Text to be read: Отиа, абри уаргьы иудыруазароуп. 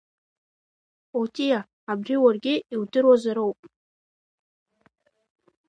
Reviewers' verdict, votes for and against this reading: accepted, 2, 1